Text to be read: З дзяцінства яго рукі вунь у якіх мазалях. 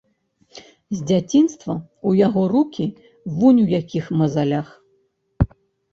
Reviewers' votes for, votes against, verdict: 0, 2, rejected